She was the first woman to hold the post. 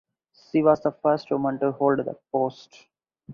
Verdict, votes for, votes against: accepted, 4, 0